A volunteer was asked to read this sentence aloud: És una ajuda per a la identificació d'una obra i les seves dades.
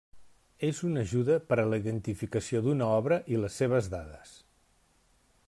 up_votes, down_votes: 3, 0